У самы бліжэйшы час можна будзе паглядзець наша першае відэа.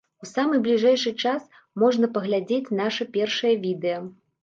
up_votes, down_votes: 1, 2